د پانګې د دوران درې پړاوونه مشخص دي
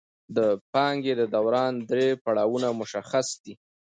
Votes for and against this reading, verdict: 2, 0, accepted